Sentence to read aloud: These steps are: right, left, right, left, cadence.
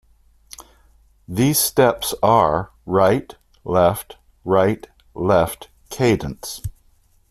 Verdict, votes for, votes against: accepted, 2, 0